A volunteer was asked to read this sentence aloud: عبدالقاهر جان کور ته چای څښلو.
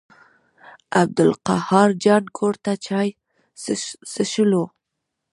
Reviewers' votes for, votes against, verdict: 0, 2, rejected